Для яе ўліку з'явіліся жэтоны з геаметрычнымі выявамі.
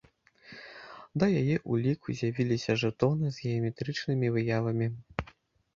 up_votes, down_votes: 1, 2